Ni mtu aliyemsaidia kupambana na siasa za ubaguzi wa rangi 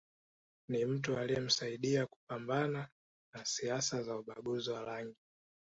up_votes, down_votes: 1, 2